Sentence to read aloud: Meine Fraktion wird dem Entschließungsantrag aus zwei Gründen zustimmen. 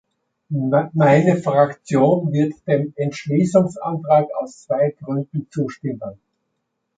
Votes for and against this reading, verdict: 1, 2, rejected